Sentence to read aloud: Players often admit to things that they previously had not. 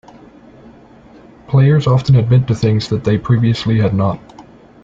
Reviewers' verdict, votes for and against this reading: rejected, 0, 2